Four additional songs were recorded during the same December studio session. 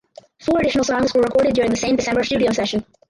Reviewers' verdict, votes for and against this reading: rejected, 0, 4